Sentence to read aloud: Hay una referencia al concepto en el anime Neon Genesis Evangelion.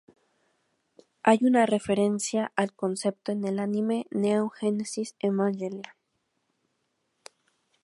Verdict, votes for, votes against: rejected, 0, 2